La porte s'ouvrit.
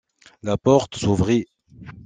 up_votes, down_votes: 2, 0